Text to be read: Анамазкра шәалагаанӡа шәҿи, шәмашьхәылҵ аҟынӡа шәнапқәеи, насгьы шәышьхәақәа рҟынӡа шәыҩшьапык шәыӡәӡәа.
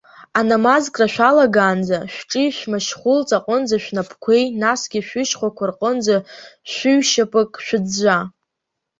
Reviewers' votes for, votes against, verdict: 2, 0, accepted